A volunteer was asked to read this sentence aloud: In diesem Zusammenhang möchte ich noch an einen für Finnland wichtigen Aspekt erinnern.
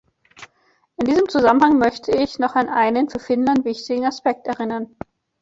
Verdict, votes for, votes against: accepted, 2, 0